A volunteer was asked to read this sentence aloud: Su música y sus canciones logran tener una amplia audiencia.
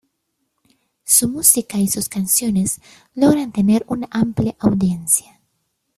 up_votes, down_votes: 1, 2